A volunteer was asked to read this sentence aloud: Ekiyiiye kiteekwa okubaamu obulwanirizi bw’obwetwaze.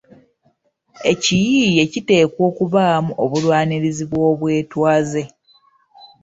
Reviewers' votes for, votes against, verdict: 1, 2, rejected